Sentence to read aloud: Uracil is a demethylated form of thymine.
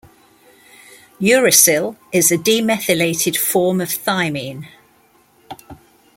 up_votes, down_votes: 2, 0